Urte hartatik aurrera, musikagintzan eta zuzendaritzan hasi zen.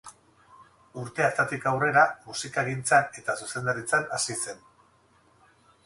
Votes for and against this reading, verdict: 4, 0, accepted